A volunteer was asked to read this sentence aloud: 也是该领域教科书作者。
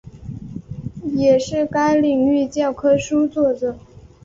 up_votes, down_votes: 3, 0